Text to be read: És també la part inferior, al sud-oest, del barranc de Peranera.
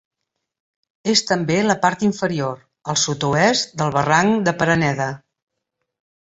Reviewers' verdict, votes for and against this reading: rejected, 0, 2